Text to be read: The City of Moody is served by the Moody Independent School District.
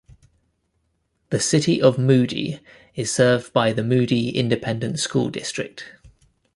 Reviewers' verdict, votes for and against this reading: accepted, 2, 0